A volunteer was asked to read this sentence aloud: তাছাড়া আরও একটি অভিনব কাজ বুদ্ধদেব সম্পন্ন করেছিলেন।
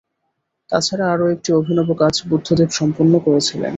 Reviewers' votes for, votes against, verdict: 2, 0, accepted